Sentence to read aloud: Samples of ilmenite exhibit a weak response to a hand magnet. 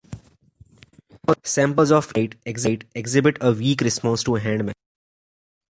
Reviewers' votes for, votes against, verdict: 0, 2, rejected